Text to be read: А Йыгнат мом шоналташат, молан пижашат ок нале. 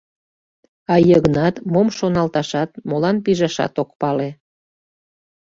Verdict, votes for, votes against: rejected, 0, 2